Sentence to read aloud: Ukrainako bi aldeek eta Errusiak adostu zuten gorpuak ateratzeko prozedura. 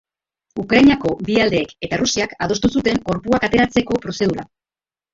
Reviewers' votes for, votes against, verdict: 0, 2, rejected